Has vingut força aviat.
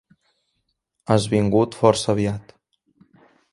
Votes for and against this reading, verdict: 2, 0, accepted